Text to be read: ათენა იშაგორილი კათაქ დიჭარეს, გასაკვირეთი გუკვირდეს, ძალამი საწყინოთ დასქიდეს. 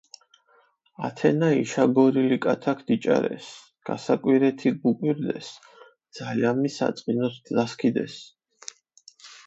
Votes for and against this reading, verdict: 4, 0, accepted